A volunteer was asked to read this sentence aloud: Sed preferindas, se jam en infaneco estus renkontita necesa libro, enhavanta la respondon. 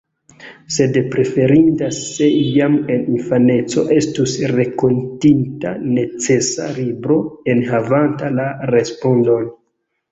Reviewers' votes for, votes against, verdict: 1, 2, rejected